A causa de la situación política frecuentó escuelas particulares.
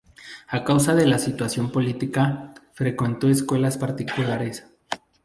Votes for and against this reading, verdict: 2, 2, rejected